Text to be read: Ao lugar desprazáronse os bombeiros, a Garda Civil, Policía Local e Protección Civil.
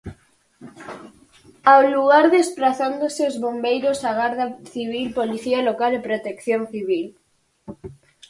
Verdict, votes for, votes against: rejected, 0, 4